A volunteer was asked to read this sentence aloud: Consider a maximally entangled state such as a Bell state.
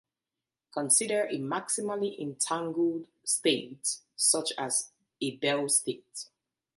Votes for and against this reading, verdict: 2, 0, accepted